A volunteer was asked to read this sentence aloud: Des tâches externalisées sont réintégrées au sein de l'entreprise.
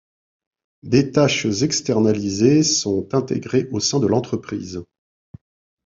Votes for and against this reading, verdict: 0, 2, rejected